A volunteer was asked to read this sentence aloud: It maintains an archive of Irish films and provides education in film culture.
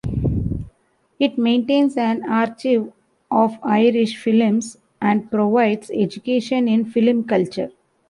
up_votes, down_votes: 1, 2